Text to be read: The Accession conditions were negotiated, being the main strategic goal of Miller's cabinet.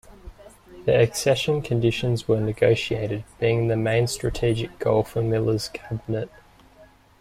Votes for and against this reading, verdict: 1, 2, rejected